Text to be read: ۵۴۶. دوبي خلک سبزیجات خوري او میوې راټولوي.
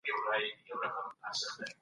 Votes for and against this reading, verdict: 0, 2, rejected